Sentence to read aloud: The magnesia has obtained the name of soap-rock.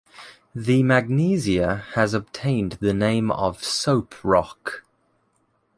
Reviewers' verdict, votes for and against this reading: accepted, 2, 0